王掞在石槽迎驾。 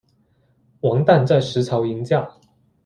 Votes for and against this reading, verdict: 2, 0, accepted